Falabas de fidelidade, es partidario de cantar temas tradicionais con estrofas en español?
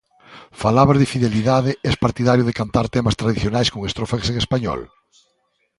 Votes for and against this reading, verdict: 2, 0, accepted